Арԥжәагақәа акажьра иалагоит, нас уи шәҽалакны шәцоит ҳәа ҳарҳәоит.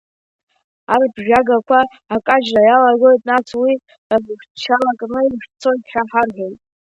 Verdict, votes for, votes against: rejected, 0, 2